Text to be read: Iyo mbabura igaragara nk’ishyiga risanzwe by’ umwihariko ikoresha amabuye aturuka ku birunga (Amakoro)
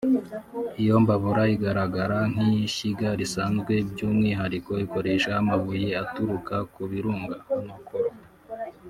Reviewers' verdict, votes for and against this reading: rejected, 1, 2